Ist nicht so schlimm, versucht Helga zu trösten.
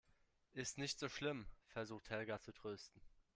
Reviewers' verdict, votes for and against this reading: accepted, 2, 1